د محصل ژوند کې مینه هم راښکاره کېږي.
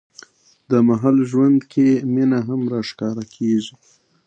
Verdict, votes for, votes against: accepted, 2, 1